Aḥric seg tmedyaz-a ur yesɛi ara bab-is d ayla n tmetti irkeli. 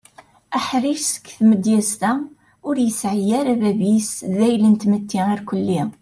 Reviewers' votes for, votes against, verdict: 2, 0, accepted